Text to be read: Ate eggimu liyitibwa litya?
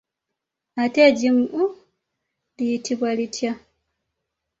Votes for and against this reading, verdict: 0, 2, rejected